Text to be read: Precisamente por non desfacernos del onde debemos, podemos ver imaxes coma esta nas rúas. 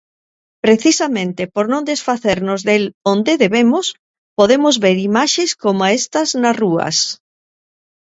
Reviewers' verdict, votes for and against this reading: rejected, 1, 2